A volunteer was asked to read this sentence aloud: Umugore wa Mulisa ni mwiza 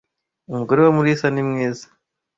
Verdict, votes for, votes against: accepted, 2, 0